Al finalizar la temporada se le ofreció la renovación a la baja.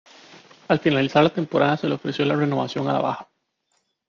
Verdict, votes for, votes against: rejected, 0, 2